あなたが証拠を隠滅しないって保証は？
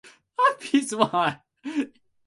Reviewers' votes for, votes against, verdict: 0, 2, rejected